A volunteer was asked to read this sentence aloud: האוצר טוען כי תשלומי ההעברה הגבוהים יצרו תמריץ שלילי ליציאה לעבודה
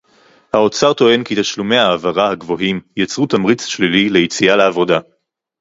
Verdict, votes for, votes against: rejected, 2, 2